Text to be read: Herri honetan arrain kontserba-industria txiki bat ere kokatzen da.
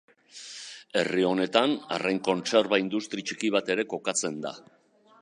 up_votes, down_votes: 0, 2